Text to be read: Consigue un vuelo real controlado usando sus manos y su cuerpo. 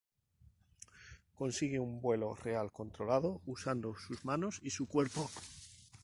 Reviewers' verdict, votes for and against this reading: rejected, 2, 2